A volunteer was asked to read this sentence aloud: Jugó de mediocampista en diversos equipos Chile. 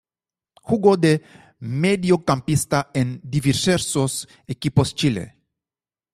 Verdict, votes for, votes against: rejected, 0, 2